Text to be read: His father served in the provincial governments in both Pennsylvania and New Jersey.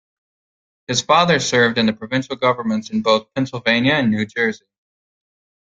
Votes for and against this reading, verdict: 2, 0, accepted